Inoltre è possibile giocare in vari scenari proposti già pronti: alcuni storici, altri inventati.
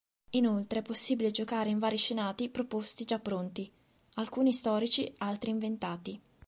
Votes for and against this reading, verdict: 0, 2, rejected